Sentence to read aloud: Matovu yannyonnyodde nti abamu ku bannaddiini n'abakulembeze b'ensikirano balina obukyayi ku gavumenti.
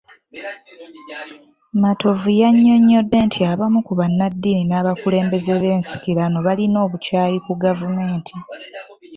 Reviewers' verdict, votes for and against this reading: accepted, 2, 1